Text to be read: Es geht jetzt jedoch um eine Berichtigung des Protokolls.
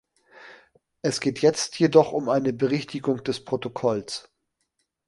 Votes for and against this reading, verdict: 2, 0, accepted